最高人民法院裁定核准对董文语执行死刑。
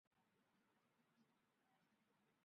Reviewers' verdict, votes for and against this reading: rejected, 0, 5